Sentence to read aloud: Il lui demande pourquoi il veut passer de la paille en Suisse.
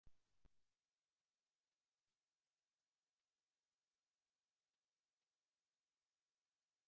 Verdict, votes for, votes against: rejected, 0, 2